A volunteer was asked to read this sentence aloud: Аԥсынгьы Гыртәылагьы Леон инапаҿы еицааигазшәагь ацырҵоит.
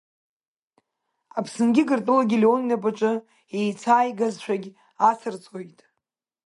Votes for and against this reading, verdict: 2, 0, accepted